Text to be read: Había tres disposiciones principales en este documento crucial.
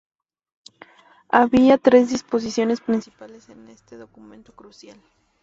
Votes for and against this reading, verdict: 0, 2, rejected